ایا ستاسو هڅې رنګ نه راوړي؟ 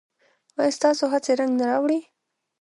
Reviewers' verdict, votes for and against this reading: rejected, 1, 2